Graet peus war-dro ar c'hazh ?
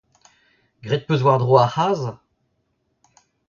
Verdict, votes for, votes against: rejected, 1, 2